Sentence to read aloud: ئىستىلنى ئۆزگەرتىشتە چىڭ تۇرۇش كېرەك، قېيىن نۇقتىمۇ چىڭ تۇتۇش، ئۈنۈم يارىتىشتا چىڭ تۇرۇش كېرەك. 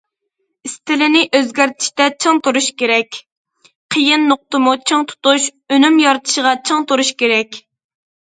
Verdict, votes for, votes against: rejected, 0, 2